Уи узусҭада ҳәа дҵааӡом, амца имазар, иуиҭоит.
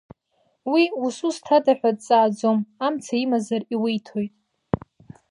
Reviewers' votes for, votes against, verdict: 1, 2, rejected